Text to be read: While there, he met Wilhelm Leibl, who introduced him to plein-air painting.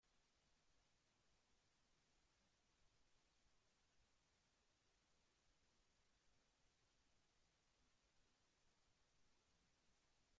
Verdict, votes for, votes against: rejected, 0, 3